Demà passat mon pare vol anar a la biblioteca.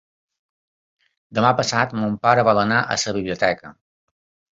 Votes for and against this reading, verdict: 1, 2, rejected